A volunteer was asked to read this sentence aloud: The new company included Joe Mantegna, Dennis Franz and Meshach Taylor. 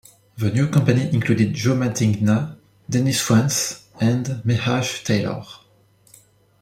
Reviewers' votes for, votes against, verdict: 2, 1, accepted